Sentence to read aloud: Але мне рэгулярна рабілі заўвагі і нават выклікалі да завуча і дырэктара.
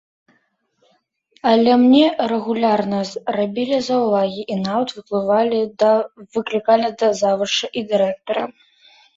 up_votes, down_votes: 0, 2